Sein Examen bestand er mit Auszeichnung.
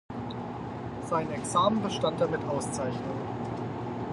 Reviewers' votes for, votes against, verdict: 4, 0, accepted